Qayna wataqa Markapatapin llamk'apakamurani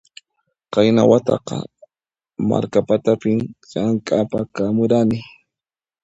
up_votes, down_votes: 2, 0